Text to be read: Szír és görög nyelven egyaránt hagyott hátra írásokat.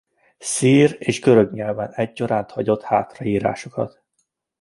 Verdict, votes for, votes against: accepted, 2, 0